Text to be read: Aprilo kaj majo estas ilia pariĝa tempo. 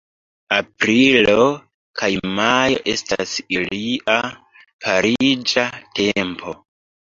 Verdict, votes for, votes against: accepted, 2, 0